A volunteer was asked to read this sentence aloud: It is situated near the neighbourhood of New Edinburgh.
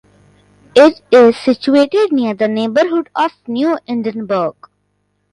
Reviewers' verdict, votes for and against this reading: accepted, 2, 0